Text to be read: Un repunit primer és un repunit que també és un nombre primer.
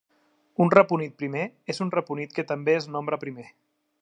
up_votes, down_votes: 0, 2